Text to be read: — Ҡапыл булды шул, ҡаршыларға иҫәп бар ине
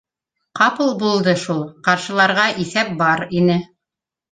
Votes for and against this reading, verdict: 3, 0, accepted